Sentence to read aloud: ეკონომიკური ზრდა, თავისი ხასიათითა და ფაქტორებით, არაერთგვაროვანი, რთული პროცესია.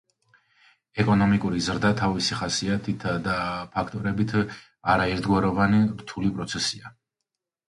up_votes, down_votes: 2, 0